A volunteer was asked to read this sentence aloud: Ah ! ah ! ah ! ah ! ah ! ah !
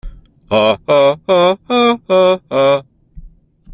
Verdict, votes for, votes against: accepted, 2, 0